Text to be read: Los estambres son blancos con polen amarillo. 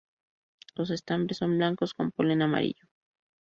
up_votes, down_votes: 2, 0